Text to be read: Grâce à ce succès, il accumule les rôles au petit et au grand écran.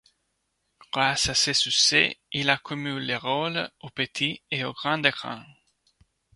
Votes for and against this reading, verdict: 2, 0, accepted